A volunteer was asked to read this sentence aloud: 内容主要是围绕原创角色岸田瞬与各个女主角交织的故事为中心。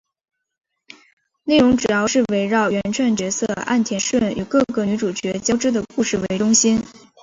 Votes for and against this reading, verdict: 2, 0, accepted